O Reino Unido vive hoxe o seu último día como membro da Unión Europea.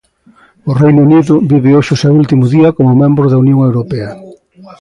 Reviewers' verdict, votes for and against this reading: accepted, 2, 0